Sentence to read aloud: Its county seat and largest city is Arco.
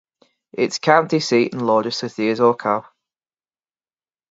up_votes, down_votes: 2, 0